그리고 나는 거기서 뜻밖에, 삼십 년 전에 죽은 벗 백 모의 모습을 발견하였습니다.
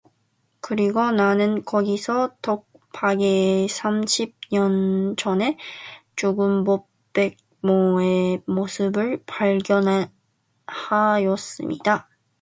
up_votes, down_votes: 0, 2